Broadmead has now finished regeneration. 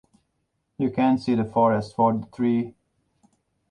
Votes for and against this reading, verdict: 0, 2, rejected